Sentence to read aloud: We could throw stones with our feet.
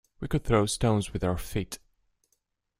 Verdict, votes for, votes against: accepted, 2, 0